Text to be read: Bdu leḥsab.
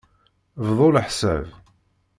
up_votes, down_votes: 0, 2